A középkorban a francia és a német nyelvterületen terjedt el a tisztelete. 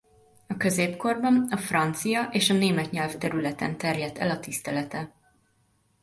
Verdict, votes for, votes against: accepted, 2, 0